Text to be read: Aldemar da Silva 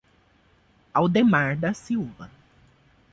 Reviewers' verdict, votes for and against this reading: accepted, 2, 0